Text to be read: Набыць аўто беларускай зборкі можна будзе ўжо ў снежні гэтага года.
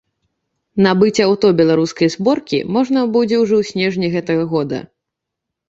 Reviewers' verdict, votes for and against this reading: accepted, 2, 0